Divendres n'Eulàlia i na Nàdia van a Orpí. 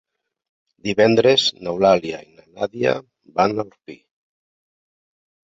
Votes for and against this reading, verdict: 0, 2, rejected